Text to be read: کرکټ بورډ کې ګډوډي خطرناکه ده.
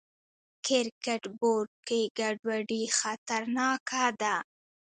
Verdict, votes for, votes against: rejected, 1, 2